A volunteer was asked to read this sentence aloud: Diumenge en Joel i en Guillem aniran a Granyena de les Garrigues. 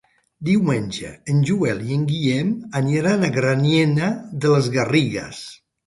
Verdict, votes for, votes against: rejected, 0, 2